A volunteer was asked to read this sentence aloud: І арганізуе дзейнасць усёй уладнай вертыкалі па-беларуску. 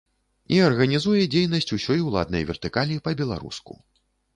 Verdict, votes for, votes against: accepted, 2, 0